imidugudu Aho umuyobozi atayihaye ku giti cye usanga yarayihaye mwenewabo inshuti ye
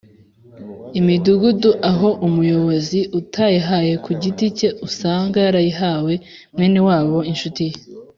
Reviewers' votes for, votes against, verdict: 1, 2, rejected